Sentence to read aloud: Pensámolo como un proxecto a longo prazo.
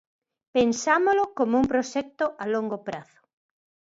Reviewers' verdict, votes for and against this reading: accepted, 2, 0